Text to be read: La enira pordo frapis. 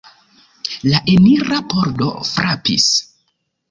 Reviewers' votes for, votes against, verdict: 2, 0, accepted